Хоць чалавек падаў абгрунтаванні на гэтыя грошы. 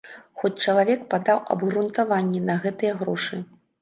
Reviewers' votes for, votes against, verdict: 2, 0, accepted